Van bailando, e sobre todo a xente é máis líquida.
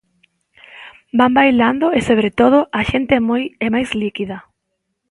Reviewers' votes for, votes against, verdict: 0, 2, rejected